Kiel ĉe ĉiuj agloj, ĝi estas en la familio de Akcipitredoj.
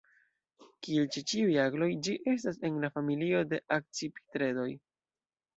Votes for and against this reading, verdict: 0, 2, rejected